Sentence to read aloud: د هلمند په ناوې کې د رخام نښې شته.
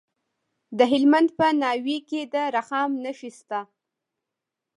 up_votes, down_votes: 2, 0